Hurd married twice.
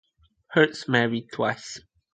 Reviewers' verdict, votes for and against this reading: rejected, 0, 2